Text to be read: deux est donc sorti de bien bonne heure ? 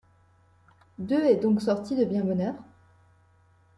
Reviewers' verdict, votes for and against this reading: accepted, 2, 0